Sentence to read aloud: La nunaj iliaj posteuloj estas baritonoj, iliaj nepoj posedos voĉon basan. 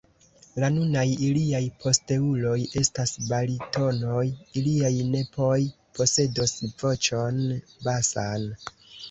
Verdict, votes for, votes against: rejected, 1, 2